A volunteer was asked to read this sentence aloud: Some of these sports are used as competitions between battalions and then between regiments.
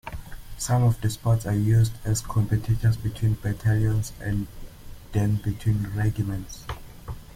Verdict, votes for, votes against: accepted, 2, 0